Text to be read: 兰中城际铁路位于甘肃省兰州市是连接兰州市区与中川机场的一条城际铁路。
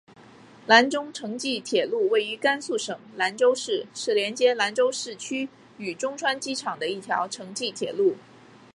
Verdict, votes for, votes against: accepted, 4, 1